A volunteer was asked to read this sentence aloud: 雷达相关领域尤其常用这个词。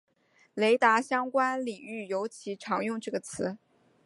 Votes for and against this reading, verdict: 2, 0, accepted